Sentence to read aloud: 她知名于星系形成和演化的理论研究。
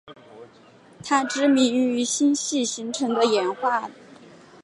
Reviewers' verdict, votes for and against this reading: rejected, 1, 2